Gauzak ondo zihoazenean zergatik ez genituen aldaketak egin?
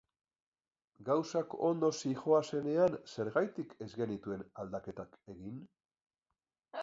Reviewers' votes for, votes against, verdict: 2, 0, accepted